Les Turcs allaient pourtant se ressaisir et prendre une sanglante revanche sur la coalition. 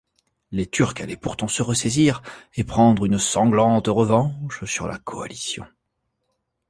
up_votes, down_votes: 2, 0